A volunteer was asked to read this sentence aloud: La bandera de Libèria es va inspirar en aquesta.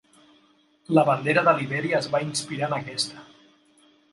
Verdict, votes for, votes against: accepted, 3, 0